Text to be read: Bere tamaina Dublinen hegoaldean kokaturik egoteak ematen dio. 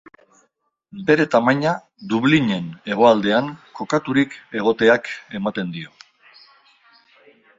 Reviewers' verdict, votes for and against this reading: accepted, 2, 1